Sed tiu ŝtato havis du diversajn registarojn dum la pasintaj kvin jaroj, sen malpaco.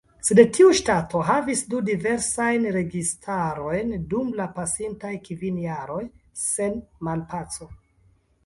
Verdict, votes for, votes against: rejected, 1, 2